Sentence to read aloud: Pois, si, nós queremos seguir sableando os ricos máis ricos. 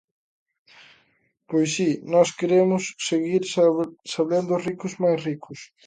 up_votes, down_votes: 0, 2